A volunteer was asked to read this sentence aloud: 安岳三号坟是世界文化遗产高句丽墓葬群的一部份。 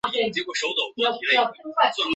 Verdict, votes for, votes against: rejected, 0, 2